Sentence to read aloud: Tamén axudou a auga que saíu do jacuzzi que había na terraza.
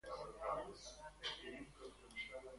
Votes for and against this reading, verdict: 0, 2, rejected